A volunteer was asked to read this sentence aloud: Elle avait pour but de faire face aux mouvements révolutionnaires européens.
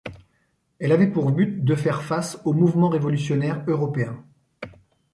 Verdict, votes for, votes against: accepted, 2, 0